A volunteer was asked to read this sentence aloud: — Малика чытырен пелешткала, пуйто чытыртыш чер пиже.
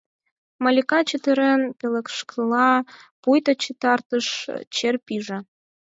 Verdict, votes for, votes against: rejected, 0, 4